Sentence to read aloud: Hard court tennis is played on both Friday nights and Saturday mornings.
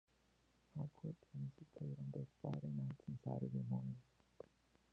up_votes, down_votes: 1, 2